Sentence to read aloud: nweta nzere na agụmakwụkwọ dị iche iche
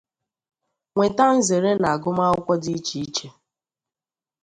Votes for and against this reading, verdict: 2, 0, accepted